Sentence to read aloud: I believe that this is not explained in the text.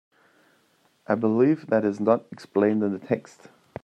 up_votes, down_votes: 1, 2